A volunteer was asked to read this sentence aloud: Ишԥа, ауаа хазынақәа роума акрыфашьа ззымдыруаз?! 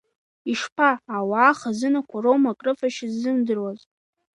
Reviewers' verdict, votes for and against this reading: rejected, 0, 2